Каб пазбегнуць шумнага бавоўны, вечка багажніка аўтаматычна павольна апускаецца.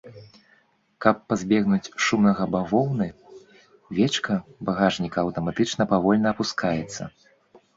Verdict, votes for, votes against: accepted, 2, 0